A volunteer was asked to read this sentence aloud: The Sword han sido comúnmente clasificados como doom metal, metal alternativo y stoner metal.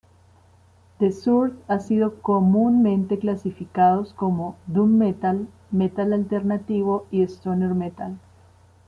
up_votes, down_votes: 1, 2